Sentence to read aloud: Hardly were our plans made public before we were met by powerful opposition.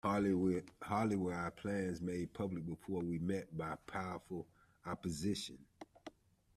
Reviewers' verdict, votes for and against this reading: rejected, 1, 2